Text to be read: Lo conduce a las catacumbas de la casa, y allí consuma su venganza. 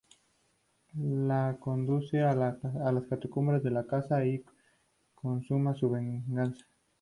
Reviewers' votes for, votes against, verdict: 0, 2, rejected